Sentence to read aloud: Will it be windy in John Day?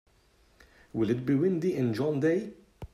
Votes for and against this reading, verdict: 2, 0, accepted